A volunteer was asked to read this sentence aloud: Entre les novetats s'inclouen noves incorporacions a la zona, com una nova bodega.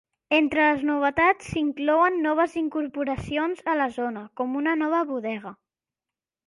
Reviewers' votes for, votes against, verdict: 2, 0, accepted